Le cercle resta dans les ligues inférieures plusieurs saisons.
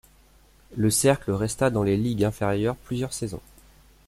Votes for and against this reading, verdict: 2, 0, accepted